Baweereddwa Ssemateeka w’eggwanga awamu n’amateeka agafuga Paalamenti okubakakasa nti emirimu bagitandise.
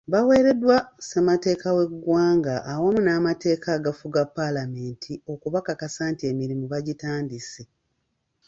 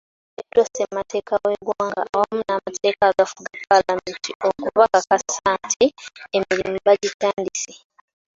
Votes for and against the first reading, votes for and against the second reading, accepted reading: 2, 0, 0, 2, first